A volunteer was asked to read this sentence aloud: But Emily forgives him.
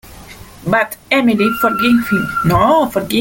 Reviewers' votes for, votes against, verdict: 0, 2, rejected